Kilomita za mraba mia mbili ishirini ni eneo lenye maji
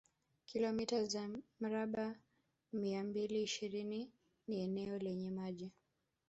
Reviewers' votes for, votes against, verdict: 0, 2, rejected